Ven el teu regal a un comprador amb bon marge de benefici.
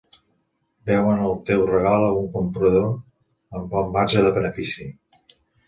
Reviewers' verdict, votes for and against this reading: rejected, 0, 2